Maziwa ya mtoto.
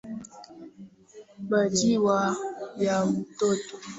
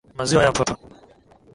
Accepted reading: second